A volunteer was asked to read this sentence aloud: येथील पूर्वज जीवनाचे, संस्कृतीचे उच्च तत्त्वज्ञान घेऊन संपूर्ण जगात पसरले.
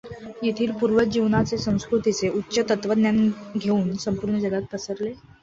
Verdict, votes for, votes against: accepted, 2, 0